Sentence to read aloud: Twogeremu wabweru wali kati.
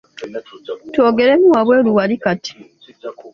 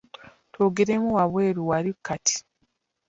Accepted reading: first